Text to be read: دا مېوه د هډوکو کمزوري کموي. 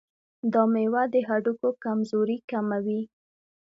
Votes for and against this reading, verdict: 2, 0, accepted